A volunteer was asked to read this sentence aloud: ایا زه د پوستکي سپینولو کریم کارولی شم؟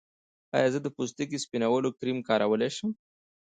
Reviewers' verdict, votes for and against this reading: rejected, 1, 2